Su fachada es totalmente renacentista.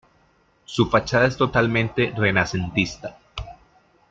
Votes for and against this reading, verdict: 2, 0, accepted